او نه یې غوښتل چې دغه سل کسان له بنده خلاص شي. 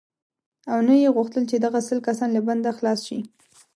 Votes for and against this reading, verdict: 2, 0, accepted